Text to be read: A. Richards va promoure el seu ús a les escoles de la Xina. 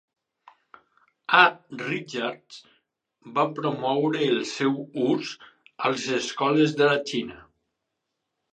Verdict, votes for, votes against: rejected, 2, 4